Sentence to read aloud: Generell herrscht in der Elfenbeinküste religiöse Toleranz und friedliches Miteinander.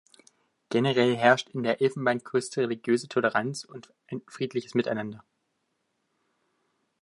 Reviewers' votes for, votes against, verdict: 0, 2, rejected